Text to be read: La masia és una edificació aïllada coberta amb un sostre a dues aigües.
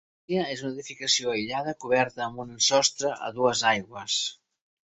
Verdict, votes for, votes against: rejected, 0, 3